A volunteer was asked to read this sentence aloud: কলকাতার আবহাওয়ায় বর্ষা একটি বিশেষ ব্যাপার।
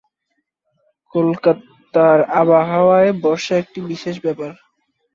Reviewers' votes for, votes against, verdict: 1, 2, rejected